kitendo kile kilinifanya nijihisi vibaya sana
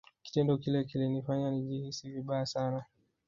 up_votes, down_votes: 1, 3